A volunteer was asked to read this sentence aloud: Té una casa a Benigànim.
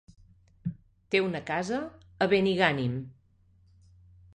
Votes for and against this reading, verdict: 3, 0, accepted